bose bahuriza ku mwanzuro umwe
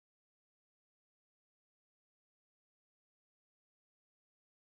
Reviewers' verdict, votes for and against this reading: rejected, 0, 2